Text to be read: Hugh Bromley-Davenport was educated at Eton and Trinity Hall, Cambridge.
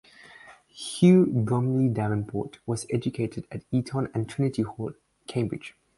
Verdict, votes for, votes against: rejected, 2, 2